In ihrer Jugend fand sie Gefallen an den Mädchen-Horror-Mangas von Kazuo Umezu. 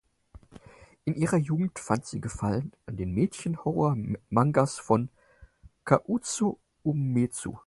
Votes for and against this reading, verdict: 2, 4, rejected